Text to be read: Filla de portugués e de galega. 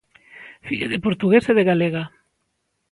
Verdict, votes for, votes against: accepted, 2, 0